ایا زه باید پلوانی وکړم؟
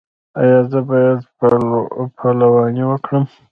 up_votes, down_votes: 1, 2